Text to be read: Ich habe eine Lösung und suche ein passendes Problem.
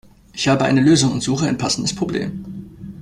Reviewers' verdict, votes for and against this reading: accepted, 2, 0